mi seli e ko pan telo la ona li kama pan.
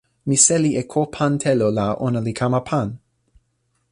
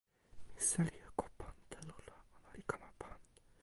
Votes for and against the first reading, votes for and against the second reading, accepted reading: 3, 0, 1, 2, first